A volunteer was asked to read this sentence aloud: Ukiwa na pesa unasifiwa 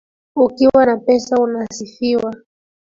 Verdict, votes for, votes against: accepted, 2, 1